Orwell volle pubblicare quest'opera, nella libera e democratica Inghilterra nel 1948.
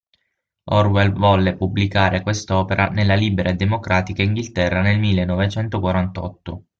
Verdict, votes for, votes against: rejected, 0, 2